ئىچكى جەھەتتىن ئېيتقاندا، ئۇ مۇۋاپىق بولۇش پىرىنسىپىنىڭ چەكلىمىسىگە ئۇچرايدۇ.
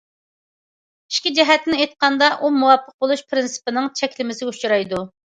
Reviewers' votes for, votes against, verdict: 2, 0, accepted